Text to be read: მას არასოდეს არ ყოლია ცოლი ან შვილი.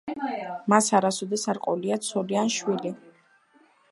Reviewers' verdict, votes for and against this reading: accepted, 2, 0